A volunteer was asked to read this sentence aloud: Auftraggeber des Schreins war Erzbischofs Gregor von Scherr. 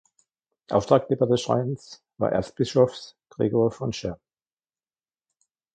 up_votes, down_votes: 2, 1